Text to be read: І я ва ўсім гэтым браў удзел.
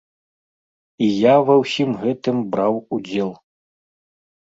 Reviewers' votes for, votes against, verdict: 2, 0, accepted